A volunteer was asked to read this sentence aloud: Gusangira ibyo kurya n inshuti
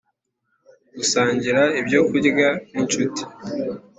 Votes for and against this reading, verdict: 2, 0, accepted